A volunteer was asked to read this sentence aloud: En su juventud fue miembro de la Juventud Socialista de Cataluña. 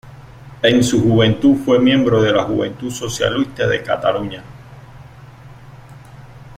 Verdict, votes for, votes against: accepted, 2, 0